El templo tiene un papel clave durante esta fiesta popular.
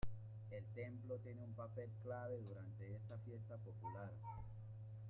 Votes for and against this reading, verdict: 0, 2, rejected